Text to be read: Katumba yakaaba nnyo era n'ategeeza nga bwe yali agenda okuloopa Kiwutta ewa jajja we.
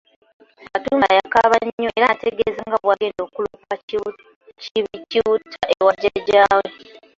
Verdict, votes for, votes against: rejected, 0, 2